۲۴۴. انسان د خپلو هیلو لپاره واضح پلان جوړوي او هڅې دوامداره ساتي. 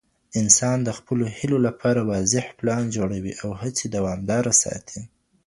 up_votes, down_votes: 0, 2